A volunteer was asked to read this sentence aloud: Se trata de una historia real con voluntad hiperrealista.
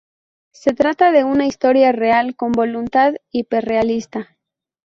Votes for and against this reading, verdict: 2, 0, accepted